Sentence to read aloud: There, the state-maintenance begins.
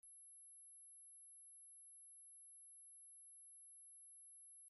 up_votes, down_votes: 0, 2